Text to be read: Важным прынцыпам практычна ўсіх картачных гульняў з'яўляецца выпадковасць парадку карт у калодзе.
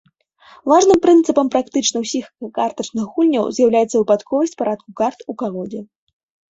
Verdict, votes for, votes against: rejected, 1, 2